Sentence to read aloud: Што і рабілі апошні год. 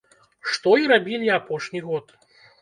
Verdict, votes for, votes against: accepted, 2, 0